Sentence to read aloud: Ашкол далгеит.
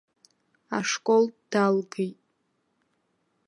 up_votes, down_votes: 1, 2